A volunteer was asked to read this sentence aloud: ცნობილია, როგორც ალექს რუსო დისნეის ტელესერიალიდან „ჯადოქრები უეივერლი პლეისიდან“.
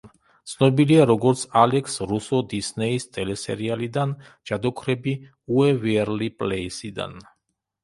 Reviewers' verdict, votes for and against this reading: rejected, 1, 2